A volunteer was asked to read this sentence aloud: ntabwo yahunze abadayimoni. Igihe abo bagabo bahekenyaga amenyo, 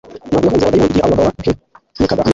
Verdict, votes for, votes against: rejected, 0, 2